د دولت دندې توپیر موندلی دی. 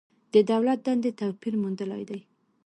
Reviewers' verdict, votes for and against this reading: accepted, 2, 1